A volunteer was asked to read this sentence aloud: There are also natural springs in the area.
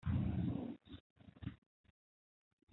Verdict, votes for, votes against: rejected, 1, 2